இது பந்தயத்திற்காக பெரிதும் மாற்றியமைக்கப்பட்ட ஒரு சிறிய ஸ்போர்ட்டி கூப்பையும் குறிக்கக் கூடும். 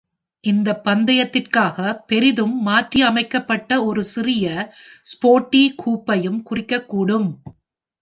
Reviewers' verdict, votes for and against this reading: rejected, 1, 2